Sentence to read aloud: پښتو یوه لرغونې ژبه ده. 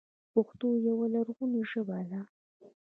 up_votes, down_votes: 2, 0